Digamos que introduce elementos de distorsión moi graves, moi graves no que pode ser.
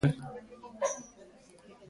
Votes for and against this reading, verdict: 0, 2, rejected